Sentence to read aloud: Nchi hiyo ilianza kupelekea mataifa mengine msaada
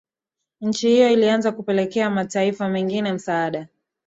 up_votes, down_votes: 4, 0